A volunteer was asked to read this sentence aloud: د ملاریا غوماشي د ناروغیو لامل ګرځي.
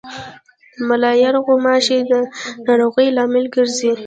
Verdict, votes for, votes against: rejected, 1, 2